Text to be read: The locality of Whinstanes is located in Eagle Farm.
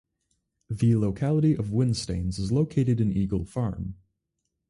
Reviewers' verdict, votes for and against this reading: accepted, 4, 0